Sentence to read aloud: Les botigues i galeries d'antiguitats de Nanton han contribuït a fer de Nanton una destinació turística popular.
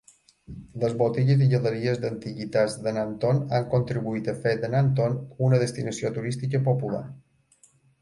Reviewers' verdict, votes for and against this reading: accepted, 2, 0